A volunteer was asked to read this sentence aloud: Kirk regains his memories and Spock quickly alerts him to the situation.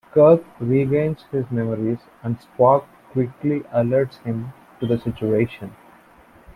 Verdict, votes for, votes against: accepted, 2, 0